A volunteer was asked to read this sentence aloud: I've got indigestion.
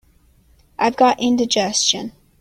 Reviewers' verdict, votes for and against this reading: accepted, 2, 0